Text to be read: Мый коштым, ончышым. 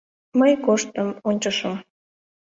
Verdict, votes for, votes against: accepted, 2, 0